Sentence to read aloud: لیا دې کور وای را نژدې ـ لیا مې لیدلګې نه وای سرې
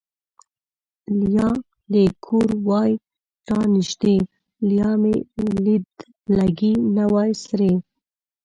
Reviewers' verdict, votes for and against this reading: rejected, 1, 2